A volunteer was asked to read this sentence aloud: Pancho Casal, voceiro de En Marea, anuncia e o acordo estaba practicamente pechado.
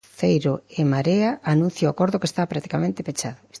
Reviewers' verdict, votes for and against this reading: rejected, 0, 2